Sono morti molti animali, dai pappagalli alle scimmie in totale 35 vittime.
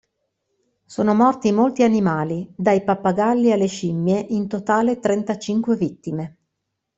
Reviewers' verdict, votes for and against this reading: rejected, 0, 2